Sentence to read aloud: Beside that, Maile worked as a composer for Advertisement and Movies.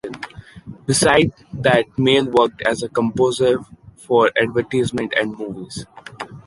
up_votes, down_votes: 2, 1